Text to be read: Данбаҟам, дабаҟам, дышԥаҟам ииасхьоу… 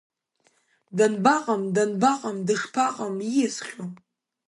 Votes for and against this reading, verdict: 1, 2, rejected